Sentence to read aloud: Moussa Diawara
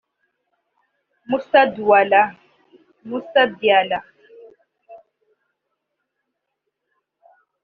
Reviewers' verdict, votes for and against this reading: rejected, 0, 2